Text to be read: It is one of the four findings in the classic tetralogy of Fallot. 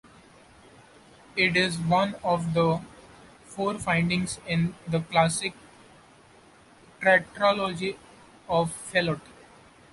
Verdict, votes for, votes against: rejected, 1, 2